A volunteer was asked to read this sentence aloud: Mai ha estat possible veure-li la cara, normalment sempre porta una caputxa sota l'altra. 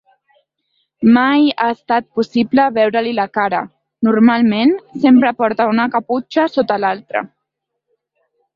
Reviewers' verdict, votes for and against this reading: accepted, 2, 0